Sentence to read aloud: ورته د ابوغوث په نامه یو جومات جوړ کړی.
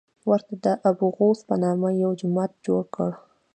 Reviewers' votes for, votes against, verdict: 2, 1, accepted